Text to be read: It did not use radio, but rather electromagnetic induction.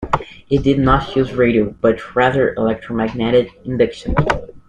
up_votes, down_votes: 2, 0